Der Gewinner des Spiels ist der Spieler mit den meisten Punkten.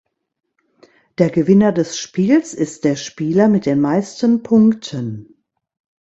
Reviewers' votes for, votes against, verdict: 2, 0, accepted